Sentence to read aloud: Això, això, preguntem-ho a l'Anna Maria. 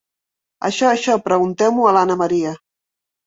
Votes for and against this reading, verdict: 6, 0, accepted